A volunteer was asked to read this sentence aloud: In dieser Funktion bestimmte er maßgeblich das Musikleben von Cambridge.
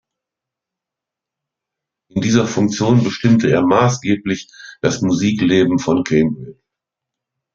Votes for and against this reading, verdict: 1, 2, rejected